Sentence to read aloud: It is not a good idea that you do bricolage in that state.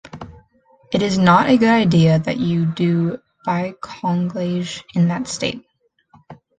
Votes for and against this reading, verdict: 0, 3, rejected